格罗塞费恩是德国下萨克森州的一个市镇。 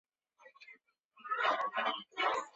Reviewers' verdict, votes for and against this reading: accepted, 5, 1